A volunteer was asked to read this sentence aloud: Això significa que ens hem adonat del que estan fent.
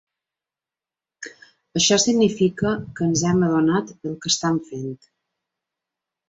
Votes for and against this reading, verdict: 1, 2, rejected